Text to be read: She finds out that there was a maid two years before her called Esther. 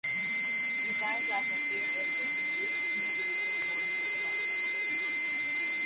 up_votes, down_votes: 0, 2